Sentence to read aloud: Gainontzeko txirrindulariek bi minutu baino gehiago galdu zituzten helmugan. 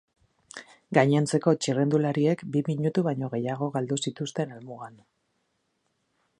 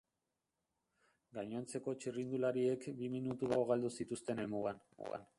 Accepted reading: first